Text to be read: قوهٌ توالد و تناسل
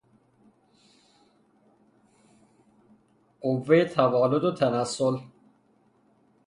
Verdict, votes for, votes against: rejected, 0, 3